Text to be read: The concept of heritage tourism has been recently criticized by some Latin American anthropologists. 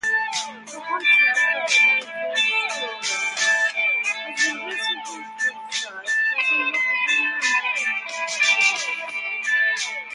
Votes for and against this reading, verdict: 0, 4, rejected